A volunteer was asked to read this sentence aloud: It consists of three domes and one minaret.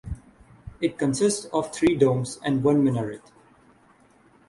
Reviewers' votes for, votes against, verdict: 3, 0, accepted